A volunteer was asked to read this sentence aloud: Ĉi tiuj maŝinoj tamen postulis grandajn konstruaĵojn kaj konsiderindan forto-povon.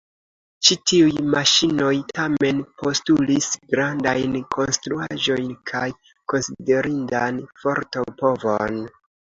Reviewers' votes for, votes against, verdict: 2, 0, accepted